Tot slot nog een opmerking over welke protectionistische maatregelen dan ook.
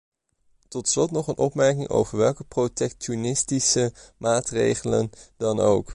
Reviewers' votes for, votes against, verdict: 2, 1, accepted